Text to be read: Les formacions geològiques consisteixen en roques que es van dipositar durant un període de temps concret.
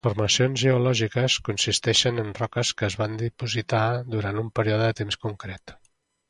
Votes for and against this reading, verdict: 1, 2, rejected